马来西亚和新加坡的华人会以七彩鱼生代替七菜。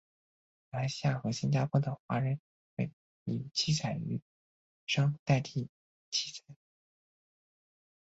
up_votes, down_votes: 0, 2